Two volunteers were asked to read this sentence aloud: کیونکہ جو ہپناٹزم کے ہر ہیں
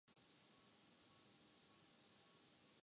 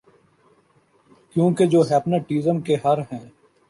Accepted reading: second